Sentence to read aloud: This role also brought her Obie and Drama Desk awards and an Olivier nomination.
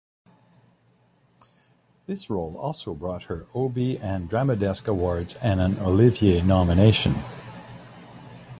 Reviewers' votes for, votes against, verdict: 2, 0, accepted